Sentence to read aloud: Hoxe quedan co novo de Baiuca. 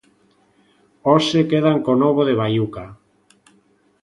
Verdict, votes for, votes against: accepted, 2, 0